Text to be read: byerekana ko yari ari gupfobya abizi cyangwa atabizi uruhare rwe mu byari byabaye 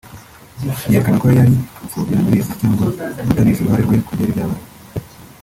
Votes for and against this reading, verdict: 0, 2, rejected